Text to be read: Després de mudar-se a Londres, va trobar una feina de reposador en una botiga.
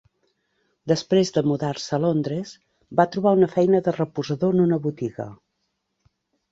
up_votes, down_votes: 3, 0